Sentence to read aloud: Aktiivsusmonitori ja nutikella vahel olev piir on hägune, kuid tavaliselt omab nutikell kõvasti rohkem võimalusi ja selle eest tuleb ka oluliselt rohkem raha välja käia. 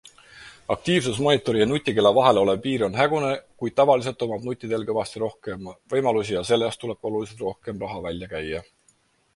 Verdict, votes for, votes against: accepted, 4, 0